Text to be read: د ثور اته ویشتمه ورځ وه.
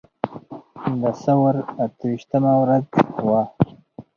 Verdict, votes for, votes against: accepted, 4, 0